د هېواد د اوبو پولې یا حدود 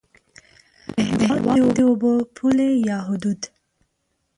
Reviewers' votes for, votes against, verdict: 0, 2, rejected